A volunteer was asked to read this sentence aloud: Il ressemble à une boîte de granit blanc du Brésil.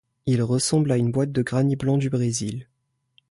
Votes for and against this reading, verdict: 1, 2, rejected